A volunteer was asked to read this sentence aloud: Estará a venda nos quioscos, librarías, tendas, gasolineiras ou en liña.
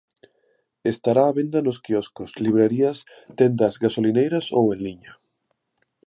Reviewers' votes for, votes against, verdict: 2, 0, accepted